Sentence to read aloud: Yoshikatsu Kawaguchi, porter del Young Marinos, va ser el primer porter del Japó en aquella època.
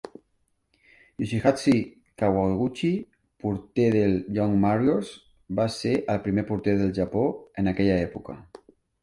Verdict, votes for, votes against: rejected, 0, 2